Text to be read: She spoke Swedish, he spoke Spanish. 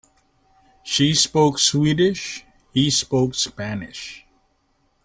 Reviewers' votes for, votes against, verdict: 3, 0, accepted